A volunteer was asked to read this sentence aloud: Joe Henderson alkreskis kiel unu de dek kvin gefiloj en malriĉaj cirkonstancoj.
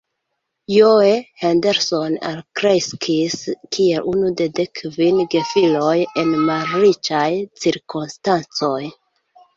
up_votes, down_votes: 2, 1